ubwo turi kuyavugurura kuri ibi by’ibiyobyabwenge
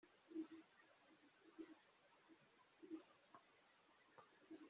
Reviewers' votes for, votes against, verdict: 0, 2, rejected